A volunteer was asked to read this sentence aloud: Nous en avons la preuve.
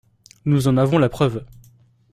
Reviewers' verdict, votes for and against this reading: accepted, 2, 0